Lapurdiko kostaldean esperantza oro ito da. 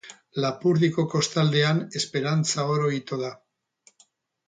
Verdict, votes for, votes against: accepted, 4, 0